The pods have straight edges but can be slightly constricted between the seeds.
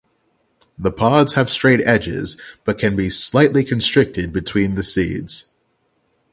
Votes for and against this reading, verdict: 3, 0, accepted